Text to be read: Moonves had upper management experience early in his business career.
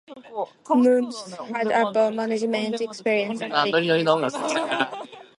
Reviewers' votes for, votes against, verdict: 2, 0, accepted